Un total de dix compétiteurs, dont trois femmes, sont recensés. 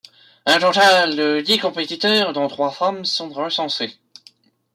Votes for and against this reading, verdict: 2, 0, accepted